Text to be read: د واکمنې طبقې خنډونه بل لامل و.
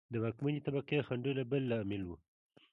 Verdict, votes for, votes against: accepted, 2, 0